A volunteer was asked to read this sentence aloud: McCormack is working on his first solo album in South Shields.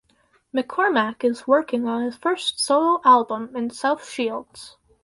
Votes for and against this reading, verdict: 4, 0, accepted